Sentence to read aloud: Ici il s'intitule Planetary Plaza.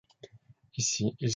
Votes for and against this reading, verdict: 0, 2, rejected